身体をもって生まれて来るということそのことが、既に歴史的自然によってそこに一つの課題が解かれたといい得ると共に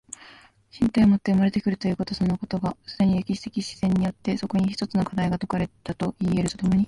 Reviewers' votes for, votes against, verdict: 2, 1, accepted